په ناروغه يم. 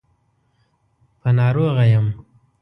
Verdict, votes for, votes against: rejected, 1, 2